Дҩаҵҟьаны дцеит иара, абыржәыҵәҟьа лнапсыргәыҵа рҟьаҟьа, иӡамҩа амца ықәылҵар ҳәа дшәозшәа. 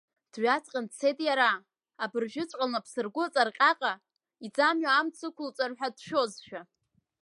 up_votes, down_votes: 2, 0